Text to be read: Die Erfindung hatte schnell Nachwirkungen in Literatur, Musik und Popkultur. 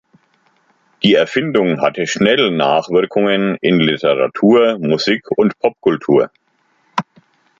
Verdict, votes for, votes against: accepted, 2, 0